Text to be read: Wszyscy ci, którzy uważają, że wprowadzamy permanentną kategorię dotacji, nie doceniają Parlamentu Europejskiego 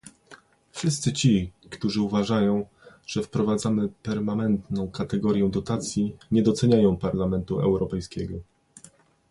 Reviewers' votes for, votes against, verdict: 2, 0, accepted